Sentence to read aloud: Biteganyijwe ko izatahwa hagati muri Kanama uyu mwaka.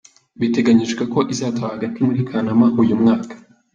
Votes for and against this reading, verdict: 2, 0, accepted